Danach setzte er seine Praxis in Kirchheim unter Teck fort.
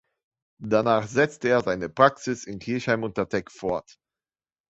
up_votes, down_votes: 2, 0